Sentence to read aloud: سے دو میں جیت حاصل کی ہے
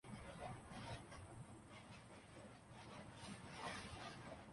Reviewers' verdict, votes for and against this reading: rejected, 0, 2